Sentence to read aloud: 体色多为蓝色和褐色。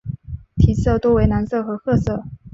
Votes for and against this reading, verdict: 4, 0, accepted